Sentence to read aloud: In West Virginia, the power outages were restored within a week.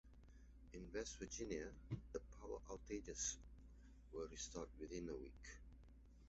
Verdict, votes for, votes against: rejected, 1, 2